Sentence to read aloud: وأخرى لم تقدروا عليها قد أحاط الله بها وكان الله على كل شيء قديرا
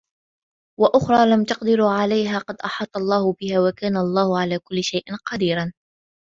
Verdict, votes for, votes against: accepted, 2, 0